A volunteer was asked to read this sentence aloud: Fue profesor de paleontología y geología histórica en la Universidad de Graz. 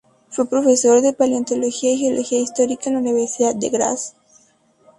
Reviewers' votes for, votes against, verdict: 0, 4, rejected